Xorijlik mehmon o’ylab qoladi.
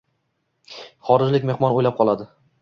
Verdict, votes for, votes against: accepted, 2, 0